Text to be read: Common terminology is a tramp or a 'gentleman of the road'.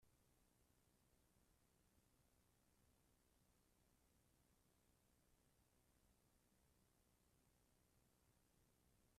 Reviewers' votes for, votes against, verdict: 0, 2, rejected